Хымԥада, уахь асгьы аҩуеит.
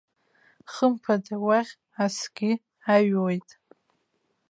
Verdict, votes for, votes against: rejected, 1, 2